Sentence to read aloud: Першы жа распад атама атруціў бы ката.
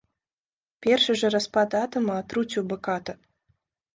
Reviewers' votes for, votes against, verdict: 2, 1, accepted